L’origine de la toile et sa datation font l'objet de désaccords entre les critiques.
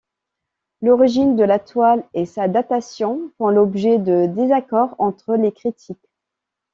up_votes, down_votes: 2, 0